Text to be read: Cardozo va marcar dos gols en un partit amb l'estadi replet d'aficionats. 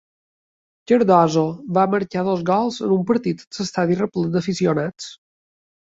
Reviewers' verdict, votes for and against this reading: rejected, 0, 2